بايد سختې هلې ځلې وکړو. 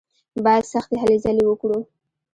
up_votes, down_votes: 2, 1